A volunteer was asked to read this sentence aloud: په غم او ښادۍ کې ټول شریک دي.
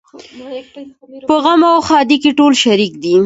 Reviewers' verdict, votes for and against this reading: rejected, 1, 2